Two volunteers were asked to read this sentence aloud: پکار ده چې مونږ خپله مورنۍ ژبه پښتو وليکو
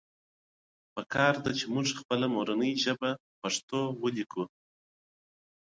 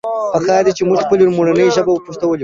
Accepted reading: first